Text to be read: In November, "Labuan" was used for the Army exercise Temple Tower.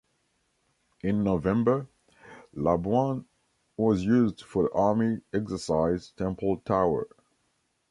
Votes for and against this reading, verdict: 0, 2, rejected